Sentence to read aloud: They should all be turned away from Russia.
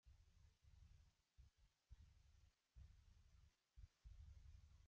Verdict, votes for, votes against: rejected, 0, 2